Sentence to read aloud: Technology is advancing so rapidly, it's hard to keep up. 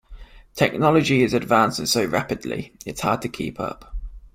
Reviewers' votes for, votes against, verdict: 2, 0, accepted